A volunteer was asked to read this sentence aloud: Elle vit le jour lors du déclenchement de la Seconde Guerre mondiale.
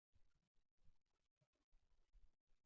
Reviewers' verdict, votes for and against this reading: rejected, 0, 2